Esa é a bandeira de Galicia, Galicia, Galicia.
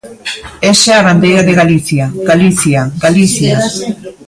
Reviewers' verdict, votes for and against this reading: rejected, 0, 2